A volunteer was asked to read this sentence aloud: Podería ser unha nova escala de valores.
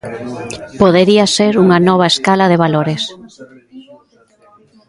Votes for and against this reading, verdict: 1, 2, rejected